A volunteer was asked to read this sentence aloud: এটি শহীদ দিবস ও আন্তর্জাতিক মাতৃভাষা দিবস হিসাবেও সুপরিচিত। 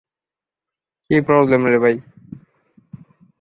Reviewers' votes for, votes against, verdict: 0, 2, rejected